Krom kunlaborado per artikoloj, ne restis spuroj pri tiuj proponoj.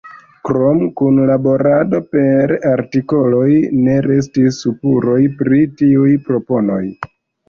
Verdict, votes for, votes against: rejected, 1, 2